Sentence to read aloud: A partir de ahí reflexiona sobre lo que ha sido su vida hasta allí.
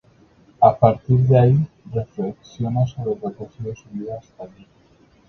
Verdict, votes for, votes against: rejected, 0, 2